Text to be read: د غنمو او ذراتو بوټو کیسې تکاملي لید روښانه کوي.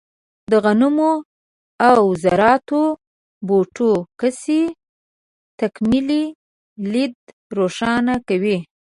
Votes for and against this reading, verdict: 1, 2, rejected